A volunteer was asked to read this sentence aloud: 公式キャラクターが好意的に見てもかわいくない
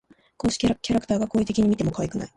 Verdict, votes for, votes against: rejected, 1, 2